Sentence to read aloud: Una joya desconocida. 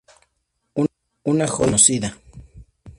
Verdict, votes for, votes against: rejected, 0, 2